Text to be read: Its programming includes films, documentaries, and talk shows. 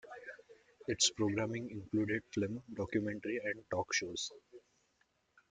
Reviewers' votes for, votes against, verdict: 0, 2, rejected